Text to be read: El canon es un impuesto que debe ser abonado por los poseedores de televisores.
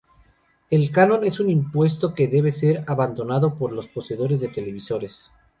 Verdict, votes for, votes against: rejected, 0, 2